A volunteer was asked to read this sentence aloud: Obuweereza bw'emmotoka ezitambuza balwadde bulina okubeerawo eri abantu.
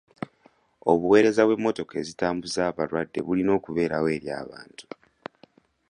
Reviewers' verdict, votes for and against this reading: accepted, 2, 0